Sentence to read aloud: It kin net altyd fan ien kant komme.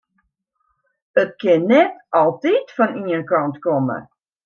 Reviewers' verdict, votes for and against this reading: accepted, 2, 0